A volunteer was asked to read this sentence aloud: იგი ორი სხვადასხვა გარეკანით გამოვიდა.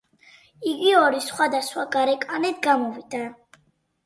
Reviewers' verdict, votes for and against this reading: accepted, 4, 0